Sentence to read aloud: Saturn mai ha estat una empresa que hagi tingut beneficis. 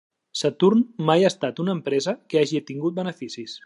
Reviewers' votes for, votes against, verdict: 2, 0, accepted